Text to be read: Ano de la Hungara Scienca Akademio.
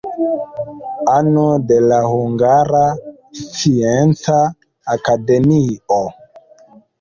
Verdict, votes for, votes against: accepted, 2, 0